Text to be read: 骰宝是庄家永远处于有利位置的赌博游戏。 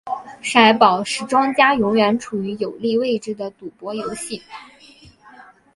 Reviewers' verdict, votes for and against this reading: accepted, 6, 0